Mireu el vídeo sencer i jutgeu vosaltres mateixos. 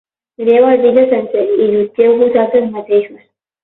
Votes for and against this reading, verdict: 12, 18, rejected